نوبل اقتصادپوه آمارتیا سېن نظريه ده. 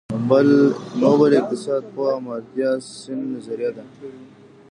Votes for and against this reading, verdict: 0, 2, rejected